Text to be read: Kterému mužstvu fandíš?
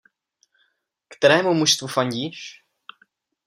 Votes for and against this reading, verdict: 2, 0, accepted